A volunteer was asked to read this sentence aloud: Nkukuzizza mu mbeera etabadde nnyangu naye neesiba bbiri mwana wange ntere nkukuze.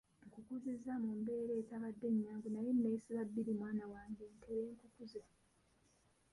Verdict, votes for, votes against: rejected, 1, 2